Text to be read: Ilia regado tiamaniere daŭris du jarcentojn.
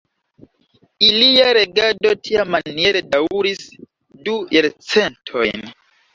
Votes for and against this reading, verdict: 3, 4, rejected